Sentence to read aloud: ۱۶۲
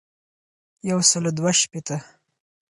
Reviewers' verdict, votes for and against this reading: rejected, 0, 2